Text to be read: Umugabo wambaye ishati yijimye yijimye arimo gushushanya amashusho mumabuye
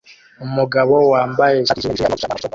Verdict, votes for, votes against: rejected, 0, 2